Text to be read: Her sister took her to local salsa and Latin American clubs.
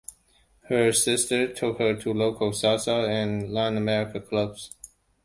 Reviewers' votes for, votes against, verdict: 2, 0, accepted